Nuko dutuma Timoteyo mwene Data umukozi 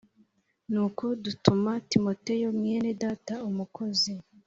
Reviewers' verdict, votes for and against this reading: accepted, 3, 0